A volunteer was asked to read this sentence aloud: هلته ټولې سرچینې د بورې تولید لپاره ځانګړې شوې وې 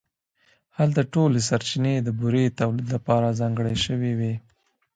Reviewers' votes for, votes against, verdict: 0, 2, rejected